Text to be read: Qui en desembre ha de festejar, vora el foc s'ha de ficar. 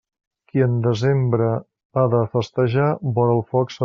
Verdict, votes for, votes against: rejected, 0, 2